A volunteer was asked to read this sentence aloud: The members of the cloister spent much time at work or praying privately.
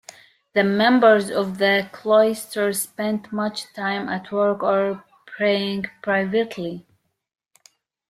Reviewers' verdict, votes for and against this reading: accepted, 2, 1